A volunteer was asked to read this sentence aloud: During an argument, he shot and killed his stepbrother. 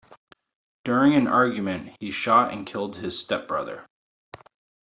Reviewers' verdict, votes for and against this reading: accepted, 2, 0